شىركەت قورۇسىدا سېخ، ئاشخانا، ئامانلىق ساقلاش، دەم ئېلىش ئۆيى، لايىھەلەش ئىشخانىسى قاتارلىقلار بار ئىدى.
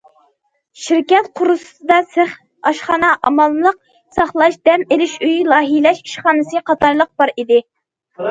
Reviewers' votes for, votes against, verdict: 0, 2, rejected